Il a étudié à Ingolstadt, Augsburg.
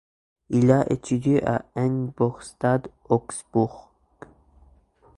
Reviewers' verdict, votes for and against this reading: rejected, 1, 2